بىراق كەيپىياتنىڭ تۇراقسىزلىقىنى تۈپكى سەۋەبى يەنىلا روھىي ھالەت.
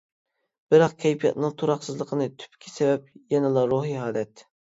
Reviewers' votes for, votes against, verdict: 0, 2, rejected